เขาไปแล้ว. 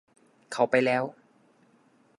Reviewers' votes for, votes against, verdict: 2, 0, accepted